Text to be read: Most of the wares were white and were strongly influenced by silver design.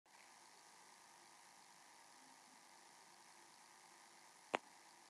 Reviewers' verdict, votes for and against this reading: rejected, 0, 2